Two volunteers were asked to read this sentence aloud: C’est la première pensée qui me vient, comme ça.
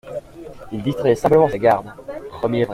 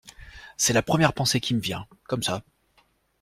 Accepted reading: second